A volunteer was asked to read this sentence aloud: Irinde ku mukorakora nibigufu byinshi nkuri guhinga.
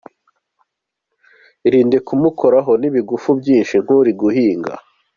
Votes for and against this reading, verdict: 1, 2, rejected